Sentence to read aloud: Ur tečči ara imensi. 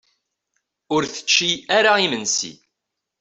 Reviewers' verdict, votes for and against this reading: accepted, 2, 0